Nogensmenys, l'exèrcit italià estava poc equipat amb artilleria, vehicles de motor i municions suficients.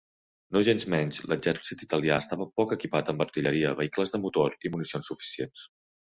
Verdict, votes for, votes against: rejected, 1, 2